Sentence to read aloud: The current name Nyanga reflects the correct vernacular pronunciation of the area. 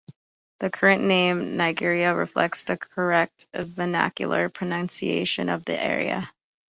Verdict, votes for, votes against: rejected, 0, 2